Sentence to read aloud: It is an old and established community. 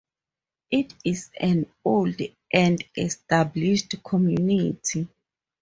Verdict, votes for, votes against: rejected, 0, 2